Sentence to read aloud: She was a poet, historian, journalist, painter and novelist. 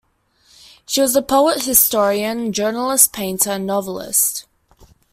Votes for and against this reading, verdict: 2, 0, accepted